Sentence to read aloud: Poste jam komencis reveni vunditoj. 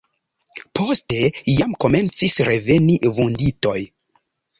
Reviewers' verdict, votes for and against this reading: rejected, 1, 2